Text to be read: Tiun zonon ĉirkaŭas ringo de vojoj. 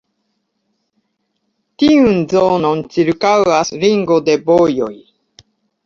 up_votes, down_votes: 2, 1